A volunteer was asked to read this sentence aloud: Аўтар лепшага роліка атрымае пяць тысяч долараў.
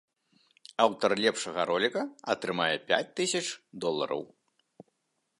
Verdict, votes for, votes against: accepted, 2, 0